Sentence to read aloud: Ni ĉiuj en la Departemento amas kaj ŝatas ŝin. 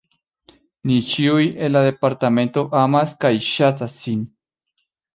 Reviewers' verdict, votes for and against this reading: accepted, 2, 1